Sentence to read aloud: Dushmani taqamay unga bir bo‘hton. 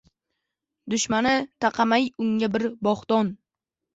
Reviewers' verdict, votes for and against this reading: rejected, 0, 2